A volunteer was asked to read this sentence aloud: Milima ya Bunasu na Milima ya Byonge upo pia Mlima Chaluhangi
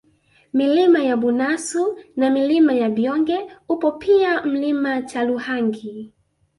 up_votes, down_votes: 2, 0